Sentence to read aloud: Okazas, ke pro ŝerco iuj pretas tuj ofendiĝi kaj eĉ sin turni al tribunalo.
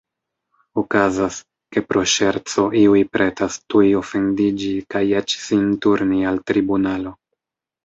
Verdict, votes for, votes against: accepted, 3, 0